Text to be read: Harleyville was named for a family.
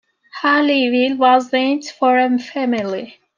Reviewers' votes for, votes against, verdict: 1, 2, rejected